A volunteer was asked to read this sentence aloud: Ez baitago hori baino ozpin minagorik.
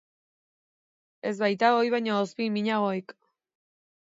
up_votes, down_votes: 2, 0